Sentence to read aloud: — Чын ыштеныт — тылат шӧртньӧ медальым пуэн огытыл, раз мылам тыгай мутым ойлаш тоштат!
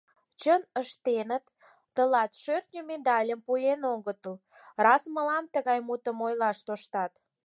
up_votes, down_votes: 4, 0